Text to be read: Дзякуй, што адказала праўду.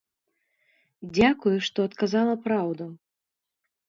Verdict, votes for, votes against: accepted, 2, 0